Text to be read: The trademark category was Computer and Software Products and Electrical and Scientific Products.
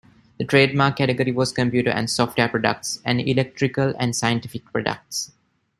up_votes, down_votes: 2, 0